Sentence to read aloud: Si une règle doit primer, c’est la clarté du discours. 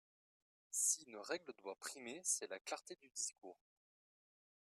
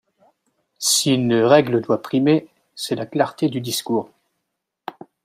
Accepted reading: first